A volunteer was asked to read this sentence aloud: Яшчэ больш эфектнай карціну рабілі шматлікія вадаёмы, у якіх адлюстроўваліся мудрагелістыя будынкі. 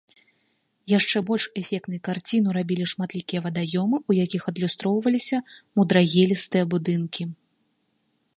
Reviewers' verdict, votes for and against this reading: accepted, 2, 0